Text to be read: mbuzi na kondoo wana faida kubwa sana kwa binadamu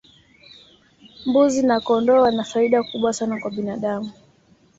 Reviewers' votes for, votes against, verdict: 2, 0, accepted